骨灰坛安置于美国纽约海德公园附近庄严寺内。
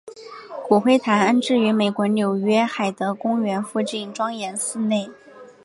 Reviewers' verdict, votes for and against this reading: accepted, 2, 0